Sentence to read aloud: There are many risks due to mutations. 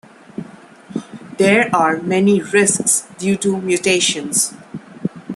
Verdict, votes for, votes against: accepted, 2, 0